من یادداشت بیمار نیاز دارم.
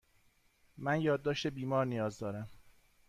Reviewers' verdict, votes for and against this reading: accepted, 2, 0